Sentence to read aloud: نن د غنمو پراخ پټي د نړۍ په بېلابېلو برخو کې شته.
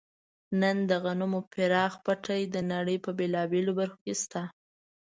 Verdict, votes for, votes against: rejected, 1, 2